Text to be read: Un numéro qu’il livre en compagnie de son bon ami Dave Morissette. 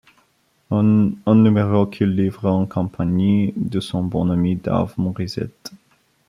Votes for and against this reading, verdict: 2, 3, rejected